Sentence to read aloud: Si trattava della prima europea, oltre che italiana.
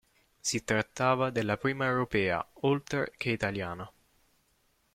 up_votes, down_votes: 0, 2